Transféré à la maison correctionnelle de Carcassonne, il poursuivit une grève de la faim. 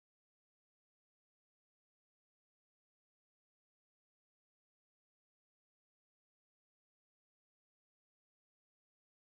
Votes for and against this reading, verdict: 0, 2, rejected